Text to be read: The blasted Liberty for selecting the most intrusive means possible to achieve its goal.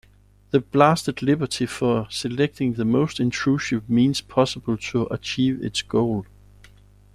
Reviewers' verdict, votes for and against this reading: accepted, 2, 1